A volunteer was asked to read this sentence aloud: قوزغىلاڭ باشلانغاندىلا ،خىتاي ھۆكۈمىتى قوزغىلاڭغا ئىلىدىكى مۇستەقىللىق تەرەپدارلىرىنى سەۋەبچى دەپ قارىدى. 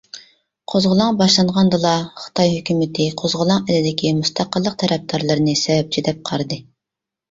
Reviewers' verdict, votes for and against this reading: rejected, 0, 2